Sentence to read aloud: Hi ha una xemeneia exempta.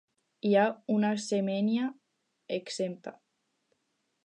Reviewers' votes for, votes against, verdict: 0, 4, rejected